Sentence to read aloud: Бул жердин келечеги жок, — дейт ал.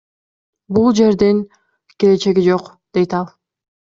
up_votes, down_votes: 2, 0